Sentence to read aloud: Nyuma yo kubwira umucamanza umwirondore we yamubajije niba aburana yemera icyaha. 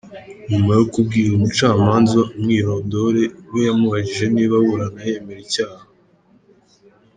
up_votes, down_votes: 2, 0